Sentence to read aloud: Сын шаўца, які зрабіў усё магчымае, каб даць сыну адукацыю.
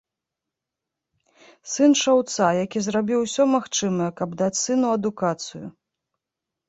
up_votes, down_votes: 2, 0